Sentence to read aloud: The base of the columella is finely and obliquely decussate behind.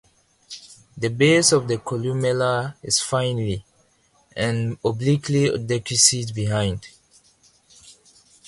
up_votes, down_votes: 2, 0